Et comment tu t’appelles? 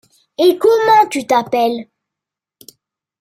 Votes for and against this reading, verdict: 2, 1, accepted